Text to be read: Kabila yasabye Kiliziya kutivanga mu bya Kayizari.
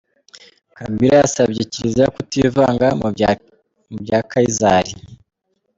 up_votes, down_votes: 0, 2